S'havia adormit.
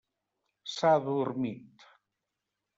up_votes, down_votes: 1, 2